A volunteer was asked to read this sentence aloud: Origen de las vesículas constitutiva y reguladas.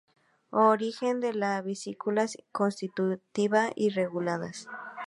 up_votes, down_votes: 0, 4